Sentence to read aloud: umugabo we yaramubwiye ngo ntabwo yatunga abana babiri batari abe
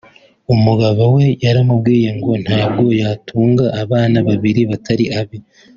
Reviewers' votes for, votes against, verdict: 2, 0, accepted